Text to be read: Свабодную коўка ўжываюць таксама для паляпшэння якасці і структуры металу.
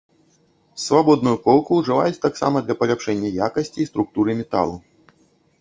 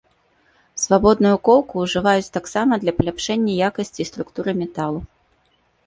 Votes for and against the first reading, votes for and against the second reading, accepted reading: 0, 2, 2, 0, second